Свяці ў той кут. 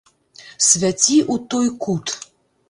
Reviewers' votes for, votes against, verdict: 1, 2, rejected